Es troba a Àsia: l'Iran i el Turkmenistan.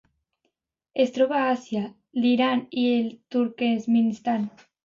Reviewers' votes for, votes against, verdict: 0, 2, rejected